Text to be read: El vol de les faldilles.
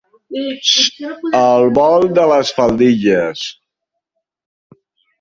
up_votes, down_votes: 0, 2